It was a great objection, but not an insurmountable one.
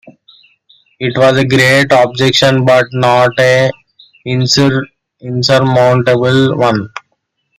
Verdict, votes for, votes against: accepted, 2, 1